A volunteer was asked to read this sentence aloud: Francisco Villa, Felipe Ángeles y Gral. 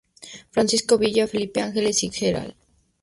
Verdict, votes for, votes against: accepted, 2, 0